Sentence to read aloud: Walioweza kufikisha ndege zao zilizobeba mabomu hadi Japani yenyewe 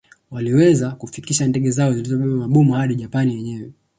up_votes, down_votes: 0, 2